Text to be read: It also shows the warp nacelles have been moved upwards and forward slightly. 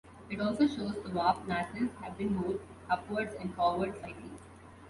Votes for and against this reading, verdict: 2, 0, accepted